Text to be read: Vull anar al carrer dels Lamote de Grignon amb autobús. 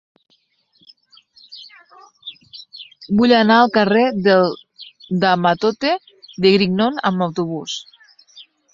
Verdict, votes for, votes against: rejected, 0, 2